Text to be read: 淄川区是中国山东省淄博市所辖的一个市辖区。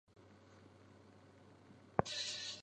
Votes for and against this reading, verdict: 0, 3, rejected